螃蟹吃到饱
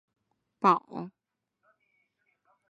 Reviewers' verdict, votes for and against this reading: rejected, 1, 2